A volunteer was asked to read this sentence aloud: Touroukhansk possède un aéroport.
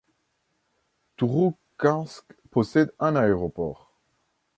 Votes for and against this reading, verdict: 2, 0, accepted